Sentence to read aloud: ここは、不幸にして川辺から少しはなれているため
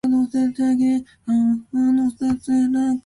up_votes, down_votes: 0, 3